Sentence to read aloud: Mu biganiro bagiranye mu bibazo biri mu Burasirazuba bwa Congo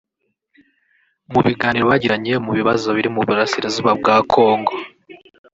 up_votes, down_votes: 0, 2